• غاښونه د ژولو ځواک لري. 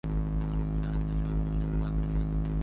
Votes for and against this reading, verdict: 0, 2, rejected